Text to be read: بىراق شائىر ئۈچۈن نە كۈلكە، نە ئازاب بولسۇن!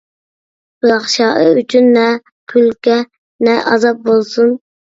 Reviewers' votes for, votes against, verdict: 2, 0, accepted